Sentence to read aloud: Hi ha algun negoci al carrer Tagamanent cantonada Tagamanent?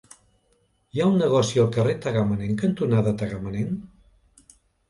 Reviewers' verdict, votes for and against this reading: rejected, 0, 2